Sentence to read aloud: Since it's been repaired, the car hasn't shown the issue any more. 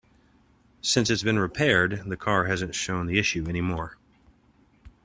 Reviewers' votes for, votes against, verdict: 2, 0, accepted